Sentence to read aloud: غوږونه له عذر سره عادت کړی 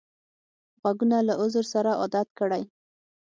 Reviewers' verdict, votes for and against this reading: accepted, 6, 0